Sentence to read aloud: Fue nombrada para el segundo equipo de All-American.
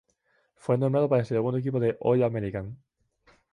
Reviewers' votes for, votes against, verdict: 0, 2, rejected